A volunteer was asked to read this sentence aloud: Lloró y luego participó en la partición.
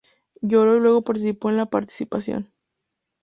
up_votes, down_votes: 0, 2